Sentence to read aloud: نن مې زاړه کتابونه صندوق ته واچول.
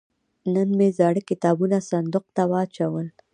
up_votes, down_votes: 1, 2